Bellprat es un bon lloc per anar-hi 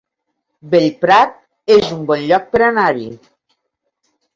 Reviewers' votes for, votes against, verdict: 2, 0, accepted